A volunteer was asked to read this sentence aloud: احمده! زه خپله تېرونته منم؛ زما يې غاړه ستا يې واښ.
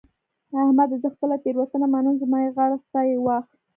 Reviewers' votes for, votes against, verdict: 1, 2, rejected